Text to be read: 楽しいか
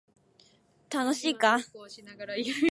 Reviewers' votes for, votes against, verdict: 0, 2, rejected